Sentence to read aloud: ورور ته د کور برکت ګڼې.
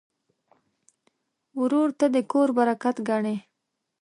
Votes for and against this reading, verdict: 2, 0, accepted